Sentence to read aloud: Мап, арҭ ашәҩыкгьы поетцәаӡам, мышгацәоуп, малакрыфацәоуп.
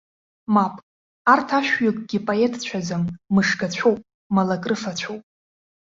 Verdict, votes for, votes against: accepted, 2, 0